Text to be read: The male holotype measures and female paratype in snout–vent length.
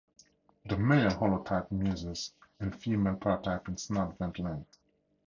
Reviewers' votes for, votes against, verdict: 2, 0, accepted